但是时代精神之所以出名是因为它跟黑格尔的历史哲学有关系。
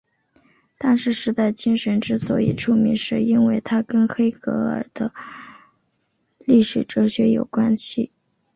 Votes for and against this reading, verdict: 2, 0, accepted